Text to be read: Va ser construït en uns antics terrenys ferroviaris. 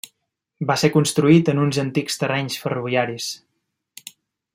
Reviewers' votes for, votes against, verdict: 3, 0, accepted